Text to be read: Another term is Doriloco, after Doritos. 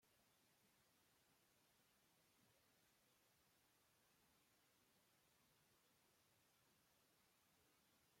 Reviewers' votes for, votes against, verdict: 0, 2, rejected